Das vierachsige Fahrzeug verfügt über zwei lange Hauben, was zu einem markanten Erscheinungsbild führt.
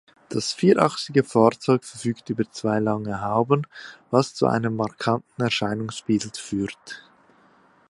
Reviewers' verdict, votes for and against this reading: rejected, 1, 2